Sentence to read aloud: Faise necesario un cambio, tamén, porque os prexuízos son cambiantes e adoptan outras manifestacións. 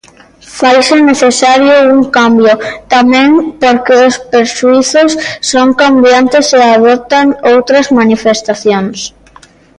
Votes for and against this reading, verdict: 2, 0, accepted